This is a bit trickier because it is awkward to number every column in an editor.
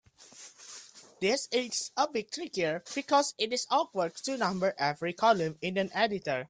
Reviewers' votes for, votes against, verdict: 2, 0, accepted